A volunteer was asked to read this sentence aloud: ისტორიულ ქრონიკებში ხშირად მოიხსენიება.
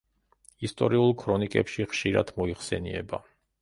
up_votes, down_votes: 2, 0